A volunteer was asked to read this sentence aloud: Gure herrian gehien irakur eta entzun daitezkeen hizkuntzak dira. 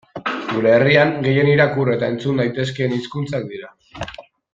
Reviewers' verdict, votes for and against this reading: accepted, 2, 0